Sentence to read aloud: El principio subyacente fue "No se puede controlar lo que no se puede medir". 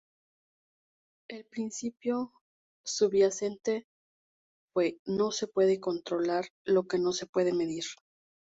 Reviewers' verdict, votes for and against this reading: accepted, 2, 0